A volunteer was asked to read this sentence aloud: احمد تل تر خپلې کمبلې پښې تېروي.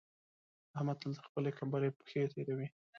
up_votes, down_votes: 2, 0